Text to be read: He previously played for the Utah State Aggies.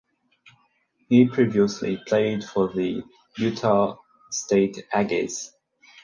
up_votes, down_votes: 4, 0